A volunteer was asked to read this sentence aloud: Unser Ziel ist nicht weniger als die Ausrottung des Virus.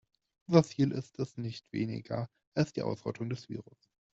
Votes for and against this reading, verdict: 0, 2, rejected